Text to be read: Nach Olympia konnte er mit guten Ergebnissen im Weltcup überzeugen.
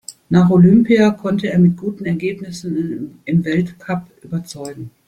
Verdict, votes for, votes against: accepted, 2, 0